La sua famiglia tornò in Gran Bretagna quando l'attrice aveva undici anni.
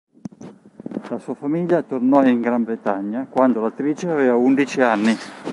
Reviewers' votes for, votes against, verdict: 1, 2, rejected